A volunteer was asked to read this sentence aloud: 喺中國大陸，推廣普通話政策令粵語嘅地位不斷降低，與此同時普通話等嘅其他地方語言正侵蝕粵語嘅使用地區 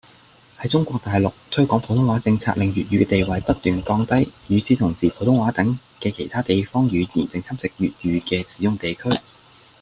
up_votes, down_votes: 2, 0